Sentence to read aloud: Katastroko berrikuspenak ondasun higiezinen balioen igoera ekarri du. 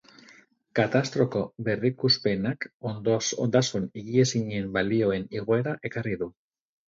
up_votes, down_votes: 2, 2